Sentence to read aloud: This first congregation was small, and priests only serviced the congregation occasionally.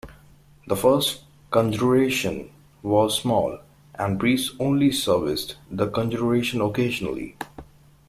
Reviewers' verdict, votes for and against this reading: rejected, 1, 2